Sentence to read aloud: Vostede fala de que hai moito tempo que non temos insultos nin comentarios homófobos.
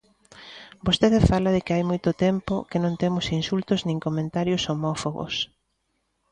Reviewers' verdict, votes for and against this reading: accepted, 2, 0